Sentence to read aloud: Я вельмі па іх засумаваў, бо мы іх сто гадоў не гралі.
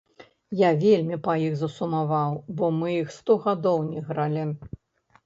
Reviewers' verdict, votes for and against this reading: rejected, 0, 2